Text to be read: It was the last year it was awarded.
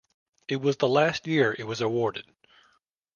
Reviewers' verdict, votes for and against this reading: accepted, 2, 0